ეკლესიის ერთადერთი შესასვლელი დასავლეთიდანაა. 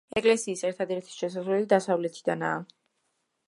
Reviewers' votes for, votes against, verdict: 2, 0, accepted